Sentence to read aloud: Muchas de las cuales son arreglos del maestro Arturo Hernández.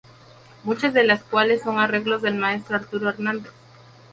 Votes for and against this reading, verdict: 2, 2, rejected